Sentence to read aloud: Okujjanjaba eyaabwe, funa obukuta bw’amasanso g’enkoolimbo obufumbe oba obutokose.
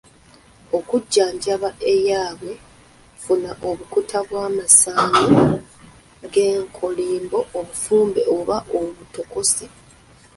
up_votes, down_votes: 1, 2